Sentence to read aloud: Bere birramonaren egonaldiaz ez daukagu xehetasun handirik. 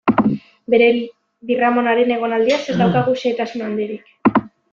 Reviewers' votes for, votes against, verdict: 0, 2, rejected